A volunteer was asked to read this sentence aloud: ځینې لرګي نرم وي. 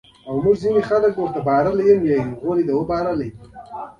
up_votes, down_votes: 1, 2